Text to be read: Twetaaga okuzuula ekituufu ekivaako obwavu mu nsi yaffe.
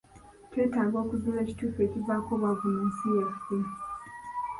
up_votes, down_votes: 1, 2